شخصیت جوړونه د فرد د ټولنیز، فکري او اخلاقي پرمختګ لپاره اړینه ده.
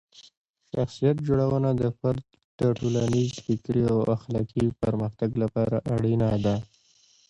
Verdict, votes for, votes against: accepted, 2, 1